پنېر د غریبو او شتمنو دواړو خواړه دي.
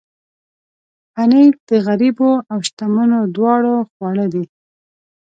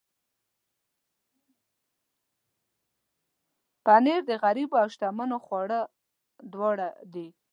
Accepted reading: first